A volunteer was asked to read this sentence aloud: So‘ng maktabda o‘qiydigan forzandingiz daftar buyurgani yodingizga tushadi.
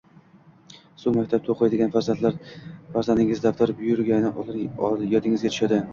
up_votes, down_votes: 0, 2